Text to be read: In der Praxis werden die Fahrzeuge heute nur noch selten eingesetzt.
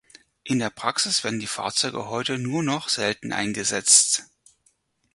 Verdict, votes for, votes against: accepted, 4, 0